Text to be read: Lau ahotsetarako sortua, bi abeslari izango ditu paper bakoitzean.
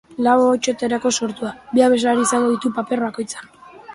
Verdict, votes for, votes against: accepted, 2, 0